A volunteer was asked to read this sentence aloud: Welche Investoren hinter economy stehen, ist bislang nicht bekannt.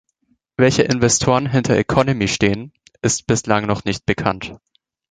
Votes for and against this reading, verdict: 1, 2, rejected